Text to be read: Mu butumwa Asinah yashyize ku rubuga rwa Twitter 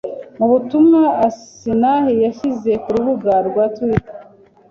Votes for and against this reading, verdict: 2, 0, accepted